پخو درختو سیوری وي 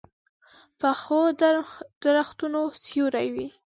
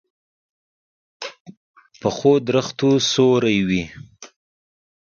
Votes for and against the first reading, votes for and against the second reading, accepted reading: 1, 3, 2, 1, second